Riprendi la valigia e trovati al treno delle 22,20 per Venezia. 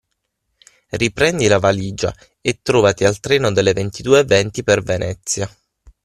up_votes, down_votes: 0, 2